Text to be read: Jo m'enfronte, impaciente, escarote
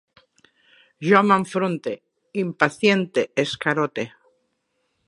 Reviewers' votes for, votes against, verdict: 0, 2, rejected